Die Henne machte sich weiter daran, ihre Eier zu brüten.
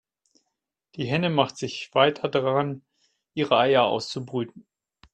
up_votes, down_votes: 1, 2